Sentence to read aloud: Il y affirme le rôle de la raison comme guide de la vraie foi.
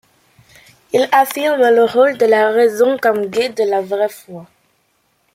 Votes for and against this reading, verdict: 0, 2, rejected